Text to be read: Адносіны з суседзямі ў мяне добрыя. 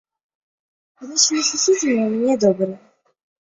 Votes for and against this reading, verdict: 2, 1, accepted